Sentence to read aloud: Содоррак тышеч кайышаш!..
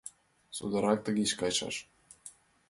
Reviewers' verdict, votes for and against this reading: accepted, 2, 1